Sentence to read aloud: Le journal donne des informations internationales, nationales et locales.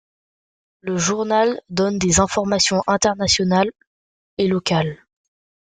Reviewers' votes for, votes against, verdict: 0, 2, rejected